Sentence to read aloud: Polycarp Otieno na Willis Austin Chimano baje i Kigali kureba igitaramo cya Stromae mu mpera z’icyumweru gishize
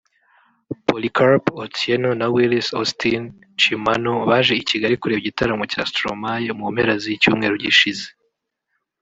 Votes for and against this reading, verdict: 1, 2, rejected